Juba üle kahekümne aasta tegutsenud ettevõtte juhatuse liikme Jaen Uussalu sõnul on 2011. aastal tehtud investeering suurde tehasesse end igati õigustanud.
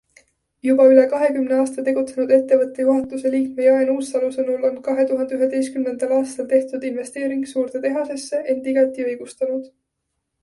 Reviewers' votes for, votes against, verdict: 0, 2, rejected